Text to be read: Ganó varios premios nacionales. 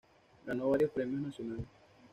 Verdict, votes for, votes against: accepted, 2, 1